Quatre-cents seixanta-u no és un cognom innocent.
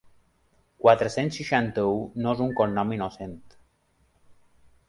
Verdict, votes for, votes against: accepted, 3, 0